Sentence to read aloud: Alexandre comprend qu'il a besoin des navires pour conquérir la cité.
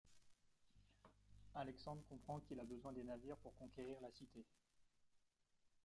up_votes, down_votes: 2, 1